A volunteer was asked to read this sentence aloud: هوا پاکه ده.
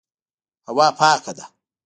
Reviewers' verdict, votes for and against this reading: rejected, 1, 2